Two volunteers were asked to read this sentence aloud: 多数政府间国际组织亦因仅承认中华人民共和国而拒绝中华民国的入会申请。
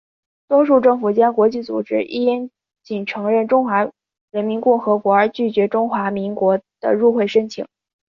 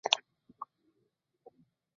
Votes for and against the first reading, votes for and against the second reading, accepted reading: 2, 0, 0, 3, first